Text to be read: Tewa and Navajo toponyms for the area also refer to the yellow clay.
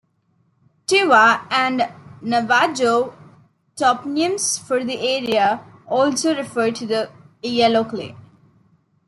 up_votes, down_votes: 2, 0